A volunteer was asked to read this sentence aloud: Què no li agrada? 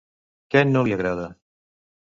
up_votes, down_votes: 2, 0